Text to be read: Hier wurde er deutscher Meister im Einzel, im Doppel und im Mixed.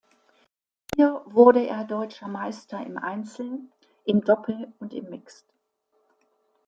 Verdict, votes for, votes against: accepted, 2, 1